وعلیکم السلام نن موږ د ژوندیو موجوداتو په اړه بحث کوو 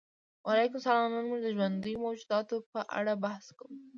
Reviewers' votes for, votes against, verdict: 1, 2, rejected